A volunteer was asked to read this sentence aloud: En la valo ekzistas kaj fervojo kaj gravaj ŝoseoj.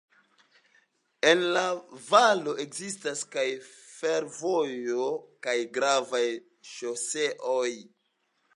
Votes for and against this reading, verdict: 2, 0, accepted